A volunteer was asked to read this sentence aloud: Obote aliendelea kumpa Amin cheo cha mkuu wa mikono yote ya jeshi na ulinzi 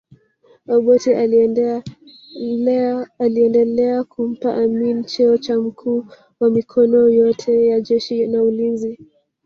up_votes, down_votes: 0, 2